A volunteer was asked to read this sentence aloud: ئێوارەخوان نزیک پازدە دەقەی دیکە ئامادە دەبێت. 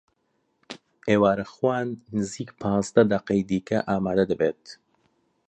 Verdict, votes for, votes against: accepted, 2, 0